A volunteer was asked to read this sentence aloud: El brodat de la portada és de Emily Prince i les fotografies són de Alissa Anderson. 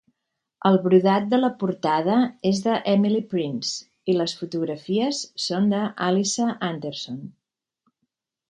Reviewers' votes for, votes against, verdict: 1, 2, rejected